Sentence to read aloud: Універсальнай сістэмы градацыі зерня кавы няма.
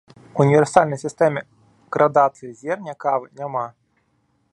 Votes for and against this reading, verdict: 0, 2, rejected